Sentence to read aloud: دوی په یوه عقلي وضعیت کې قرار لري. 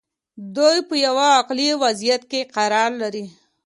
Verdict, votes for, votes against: accepted, 2, 0